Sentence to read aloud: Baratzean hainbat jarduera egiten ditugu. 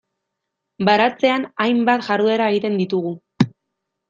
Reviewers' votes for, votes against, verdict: 2, 0, accepted